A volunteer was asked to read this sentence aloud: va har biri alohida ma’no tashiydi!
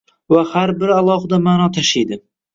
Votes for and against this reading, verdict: 1, 2, rejected